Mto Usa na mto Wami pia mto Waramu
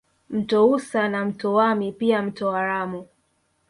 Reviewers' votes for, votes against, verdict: 4, 0, accepted